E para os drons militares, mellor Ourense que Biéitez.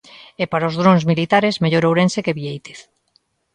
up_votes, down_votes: 2, 0